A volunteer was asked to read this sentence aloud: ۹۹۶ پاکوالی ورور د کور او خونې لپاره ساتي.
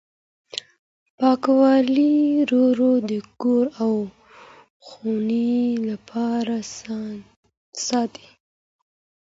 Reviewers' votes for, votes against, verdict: 0, 2, rejected